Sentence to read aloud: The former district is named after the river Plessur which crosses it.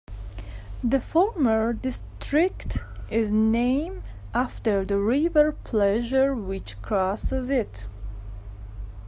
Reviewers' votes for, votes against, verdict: 2, 1, accepted